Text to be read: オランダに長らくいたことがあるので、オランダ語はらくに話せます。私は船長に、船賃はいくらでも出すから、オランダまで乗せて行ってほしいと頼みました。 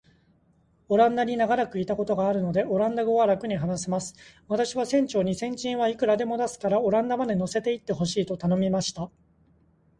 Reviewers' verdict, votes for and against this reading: accepted, 2, 0